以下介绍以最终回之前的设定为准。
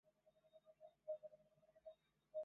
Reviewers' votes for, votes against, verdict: 1, 2, rejected